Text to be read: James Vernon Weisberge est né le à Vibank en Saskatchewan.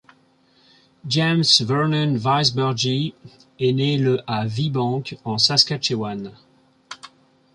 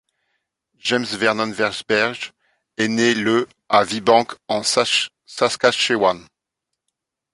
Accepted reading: first